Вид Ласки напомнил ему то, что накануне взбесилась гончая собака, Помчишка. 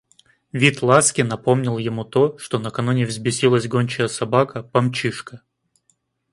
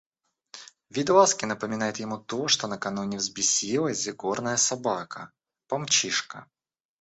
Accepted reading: first